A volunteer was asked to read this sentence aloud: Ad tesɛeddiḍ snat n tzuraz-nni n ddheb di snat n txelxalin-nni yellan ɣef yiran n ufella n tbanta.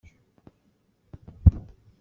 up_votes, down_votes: 0, 2